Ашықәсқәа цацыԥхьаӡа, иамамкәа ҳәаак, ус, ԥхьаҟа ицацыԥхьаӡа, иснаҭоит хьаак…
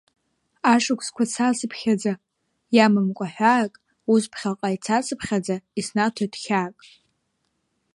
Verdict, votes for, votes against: accepted, 2, 1